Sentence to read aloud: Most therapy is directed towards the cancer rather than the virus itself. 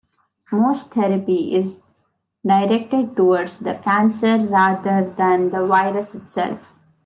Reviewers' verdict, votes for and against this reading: accepted, 2, 1